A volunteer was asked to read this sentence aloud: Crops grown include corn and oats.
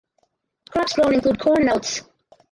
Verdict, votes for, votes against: rejected, 2, 4